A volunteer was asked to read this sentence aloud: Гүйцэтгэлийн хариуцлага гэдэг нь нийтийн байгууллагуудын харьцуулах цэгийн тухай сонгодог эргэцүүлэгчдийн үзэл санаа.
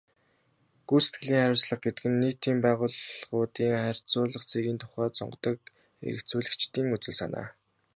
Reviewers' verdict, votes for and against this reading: rejected, 0, 2